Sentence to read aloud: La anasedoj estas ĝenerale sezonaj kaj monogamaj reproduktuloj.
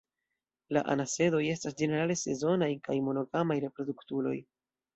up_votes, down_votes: 2, 0